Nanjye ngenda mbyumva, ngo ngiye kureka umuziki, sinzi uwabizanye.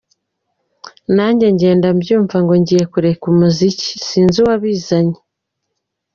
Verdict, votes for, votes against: accepted, 2, 0